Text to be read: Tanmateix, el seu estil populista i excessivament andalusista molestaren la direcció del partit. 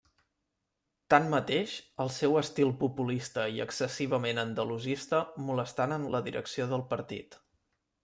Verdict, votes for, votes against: accepted, 2, 0